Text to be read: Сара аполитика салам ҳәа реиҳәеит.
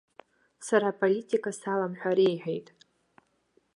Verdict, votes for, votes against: accepted, 2, 0